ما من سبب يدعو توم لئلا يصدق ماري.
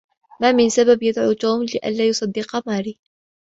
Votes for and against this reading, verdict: 2, 0, accepted